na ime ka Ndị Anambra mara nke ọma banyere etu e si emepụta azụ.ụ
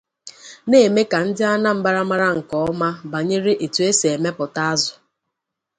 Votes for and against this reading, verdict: 0, 2, rejected